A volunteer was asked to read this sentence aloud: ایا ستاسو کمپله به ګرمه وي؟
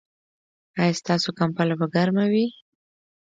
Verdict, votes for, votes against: accepted, 2, 0